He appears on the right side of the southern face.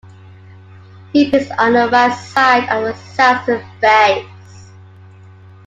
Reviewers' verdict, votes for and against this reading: rejected, 1, 2